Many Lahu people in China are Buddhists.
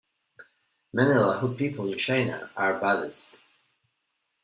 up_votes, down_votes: 1, 2